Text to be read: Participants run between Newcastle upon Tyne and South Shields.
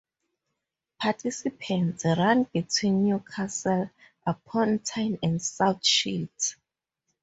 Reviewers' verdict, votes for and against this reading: accepted, 2, 0